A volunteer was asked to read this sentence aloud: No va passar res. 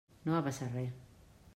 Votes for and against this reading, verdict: 0, 2, rejected